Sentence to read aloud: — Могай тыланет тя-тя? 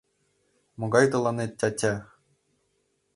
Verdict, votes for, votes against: accepted, 3, 0